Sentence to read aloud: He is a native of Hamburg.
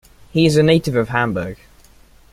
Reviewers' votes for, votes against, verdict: 2, 1, accepted